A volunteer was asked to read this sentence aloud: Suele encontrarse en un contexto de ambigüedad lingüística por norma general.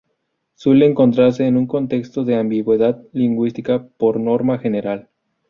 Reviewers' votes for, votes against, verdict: 2, 0, accepted